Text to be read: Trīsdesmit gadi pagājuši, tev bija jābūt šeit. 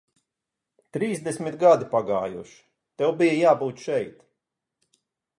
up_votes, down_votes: 4, 0